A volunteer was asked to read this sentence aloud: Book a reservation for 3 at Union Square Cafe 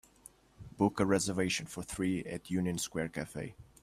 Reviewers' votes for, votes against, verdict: 0, 2, rejected